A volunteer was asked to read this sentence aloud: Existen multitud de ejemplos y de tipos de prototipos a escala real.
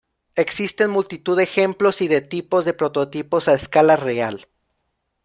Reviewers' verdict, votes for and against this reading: accepted, 2, 0